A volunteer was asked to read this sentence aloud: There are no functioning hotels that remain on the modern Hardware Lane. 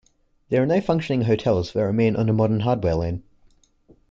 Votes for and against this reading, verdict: 2, 0, accepted